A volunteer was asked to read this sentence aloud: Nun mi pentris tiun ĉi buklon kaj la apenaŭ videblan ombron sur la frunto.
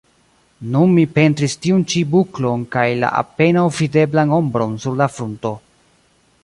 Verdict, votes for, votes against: rejected, 0, 2